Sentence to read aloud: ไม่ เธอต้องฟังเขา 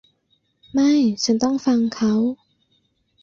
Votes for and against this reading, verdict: 0, 2, rejected